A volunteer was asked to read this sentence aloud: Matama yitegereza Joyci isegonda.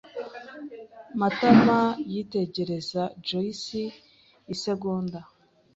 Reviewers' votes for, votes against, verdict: 2, 0, accepted